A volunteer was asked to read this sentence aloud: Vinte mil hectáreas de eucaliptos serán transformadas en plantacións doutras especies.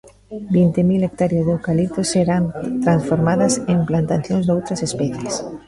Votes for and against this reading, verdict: 2, 0, accepted